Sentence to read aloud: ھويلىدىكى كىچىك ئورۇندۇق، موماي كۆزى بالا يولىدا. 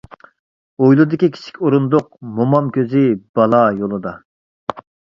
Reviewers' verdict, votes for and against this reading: accepted, 2, 0